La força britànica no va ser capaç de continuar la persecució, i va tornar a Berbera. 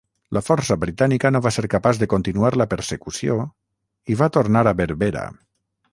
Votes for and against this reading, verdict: 0, 3, rejected